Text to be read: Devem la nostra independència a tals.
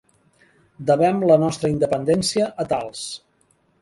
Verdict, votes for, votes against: accepted, 3, 0